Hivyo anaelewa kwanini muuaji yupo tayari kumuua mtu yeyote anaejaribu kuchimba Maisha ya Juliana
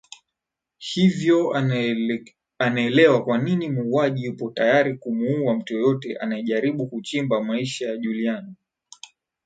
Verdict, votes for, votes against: rejected, 2, 3